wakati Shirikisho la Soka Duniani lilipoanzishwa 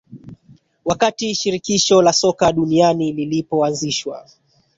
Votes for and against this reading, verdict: 1, 2, rejected